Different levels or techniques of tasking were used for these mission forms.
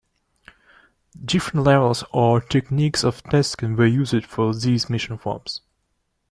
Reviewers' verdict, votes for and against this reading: accepted, 2, 0